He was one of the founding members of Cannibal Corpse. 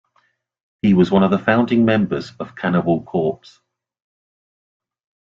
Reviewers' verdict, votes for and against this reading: accepted, 2, 0